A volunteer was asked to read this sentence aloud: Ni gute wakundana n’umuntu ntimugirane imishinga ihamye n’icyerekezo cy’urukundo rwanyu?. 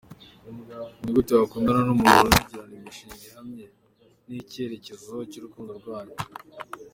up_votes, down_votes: 2, 0